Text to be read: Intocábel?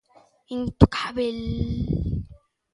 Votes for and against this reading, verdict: 1, 2, rejected